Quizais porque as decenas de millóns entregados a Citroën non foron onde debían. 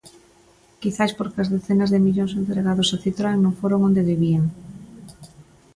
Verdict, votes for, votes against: accepted, 2, 0